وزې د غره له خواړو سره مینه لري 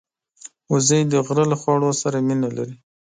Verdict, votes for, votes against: accepted, 2, 0